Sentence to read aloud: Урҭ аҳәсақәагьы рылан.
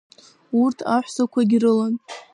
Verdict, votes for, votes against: accepted, 2, 0